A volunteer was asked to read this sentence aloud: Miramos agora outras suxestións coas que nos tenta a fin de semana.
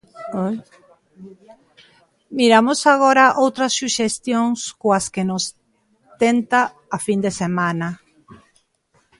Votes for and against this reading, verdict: 0, 2, rejected